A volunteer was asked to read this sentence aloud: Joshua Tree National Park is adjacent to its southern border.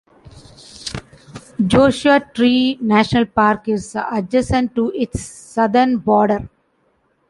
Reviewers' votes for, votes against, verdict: 2, 1, accepted